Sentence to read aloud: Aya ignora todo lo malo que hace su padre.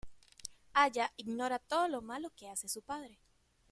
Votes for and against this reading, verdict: 2, 0, accepted